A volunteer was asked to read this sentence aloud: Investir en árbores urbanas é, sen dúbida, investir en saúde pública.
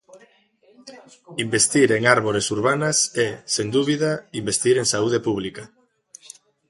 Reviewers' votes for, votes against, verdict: 0, 2, rejected